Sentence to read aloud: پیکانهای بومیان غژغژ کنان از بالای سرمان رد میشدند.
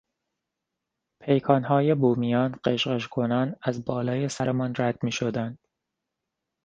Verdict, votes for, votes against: accepted, 2, 0